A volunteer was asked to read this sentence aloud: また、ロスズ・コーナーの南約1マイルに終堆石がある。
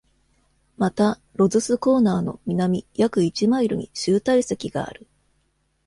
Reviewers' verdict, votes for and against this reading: rejected, 0, 2